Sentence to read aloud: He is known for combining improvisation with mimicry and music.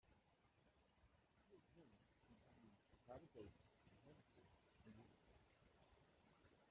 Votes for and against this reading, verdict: 0, 2, rejected